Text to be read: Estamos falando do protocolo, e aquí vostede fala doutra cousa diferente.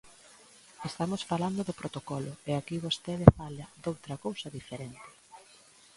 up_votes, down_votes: 1, 2